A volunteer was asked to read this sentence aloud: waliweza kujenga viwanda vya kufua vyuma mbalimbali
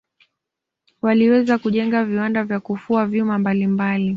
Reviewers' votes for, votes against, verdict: 2, 0, accepted